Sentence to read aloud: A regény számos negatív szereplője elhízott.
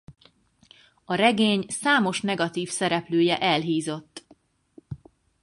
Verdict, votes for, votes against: accepted, 4, 0